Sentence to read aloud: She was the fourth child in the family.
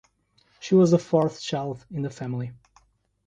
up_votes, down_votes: 2, 0